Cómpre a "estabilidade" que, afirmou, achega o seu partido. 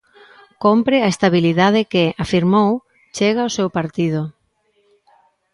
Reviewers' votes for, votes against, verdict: 0, 2, rejected